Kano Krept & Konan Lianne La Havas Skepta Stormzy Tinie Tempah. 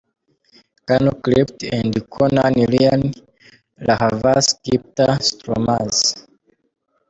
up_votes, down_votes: 0, 3